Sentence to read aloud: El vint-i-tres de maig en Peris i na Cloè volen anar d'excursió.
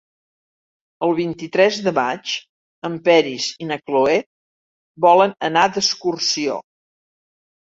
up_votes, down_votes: 3, 0